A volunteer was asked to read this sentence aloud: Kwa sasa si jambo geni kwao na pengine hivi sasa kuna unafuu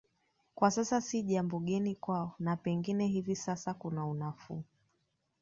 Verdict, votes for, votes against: accepted, 2, 0